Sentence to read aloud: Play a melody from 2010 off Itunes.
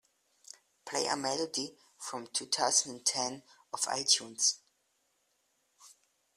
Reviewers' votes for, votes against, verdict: 0, 2, rejected